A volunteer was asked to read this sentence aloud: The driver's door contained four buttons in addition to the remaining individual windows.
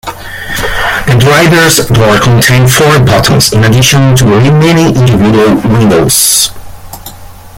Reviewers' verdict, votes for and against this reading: rejected, 1, 2